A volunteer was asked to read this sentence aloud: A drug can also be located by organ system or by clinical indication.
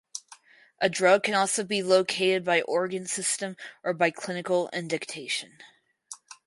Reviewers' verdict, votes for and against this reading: rejected, 2, 4